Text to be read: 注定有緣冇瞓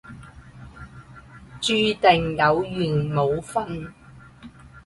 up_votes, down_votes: 0, 2